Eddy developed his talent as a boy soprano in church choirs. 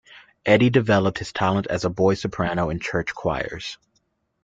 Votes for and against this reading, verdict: 2, 0, accepted